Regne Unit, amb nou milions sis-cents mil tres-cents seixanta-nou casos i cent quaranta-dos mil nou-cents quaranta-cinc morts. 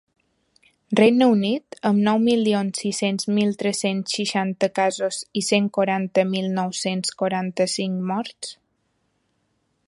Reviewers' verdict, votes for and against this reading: rejected, 0, 2